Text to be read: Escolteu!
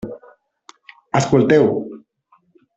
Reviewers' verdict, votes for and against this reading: rejected, 0, 2